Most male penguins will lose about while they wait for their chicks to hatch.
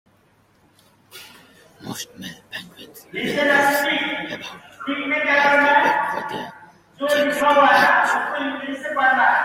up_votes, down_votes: 0, 2